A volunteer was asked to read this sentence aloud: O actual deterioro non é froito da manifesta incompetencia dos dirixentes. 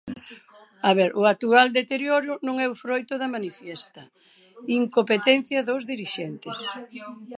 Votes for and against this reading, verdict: 0, 2, rejected